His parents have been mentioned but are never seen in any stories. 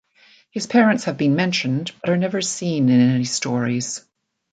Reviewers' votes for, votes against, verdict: 2, 0, accepted